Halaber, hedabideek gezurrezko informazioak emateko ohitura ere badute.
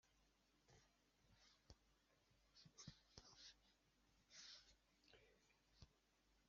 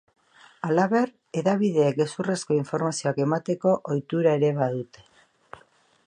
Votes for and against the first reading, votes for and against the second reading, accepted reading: 0, 2, 2, 0, second